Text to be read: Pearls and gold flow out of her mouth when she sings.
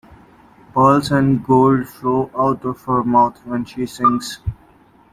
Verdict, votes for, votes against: accepted, 2, 0